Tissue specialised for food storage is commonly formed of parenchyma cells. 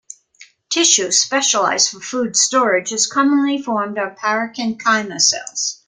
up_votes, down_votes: 2, 0